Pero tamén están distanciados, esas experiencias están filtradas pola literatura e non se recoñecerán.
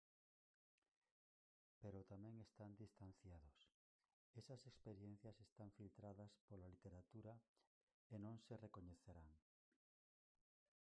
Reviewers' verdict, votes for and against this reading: rejected, 0, 4